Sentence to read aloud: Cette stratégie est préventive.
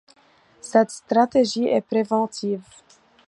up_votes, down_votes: 1, 2